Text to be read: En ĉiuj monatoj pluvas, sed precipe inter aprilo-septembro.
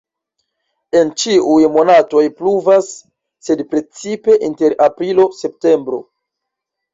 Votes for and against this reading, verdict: 1, 2, rejected